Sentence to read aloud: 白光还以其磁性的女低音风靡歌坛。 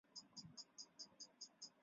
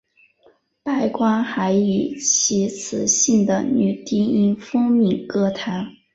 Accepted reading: second